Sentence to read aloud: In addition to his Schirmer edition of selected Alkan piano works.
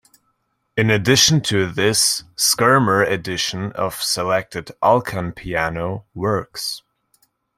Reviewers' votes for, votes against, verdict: 0, 2, rejected